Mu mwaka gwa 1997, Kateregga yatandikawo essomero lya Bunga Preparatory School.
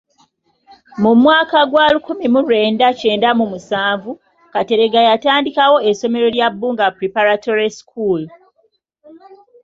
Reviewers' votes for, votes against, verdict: 0, 2, rejected